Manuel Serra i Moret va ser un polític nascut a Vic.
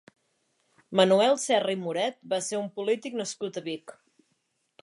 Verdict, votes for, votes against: accepted, 2, 0